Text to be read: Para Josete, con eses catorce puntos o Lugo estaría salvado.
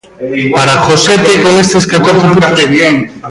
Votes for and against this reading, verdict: 0, 2, rejected